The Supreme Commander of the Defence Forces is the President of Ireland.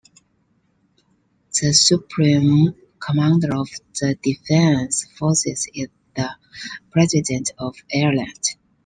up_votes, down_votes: 2, 0